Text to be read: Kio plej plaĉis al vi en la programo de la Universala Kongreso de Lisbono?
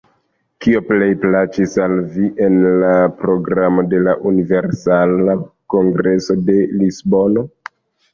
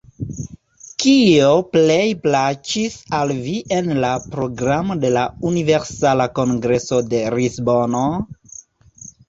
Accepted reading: first